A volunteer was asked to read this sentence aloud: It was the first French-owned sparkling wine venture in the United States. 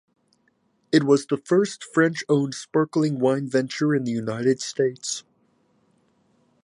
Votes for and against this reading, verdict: 4, 0, accepted